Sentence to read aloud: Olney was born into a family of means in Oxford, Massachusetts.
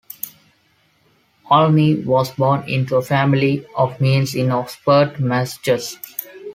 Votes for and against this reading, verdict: 2, 1, accepted